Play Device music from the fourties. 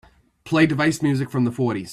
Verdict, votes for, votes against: accepted, 2, 1